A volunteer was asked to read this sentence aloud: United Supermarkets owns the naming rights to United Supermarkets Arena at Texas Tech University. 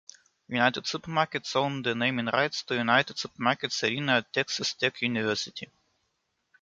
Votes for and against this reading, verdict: 2, 3, rejected